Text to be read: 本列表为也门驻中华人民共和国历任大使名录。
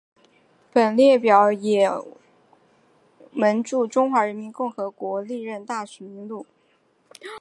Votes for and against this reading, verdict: 5, 0, accepted